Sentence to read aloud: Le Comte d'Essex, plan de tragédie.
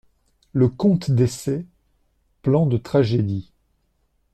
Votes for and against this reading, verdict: 2, 1, accepted